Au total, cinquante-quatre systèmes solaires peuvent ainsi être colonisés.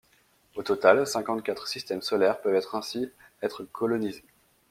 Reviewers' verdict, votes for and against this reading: rejected, 0, 2